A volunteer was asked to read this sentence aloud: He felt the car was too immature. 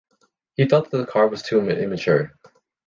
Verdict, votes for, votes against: rejected, 1, 2